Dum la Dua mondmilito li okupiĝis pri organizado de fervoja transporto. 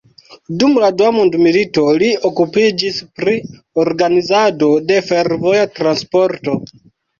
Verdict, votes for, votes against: accepted, 2, 0